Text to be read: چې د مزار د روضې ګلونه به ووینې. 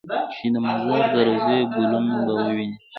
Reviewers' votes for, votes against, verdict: 0, 2, rejected